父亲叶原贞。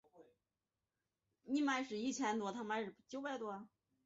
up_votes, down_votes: 0, 2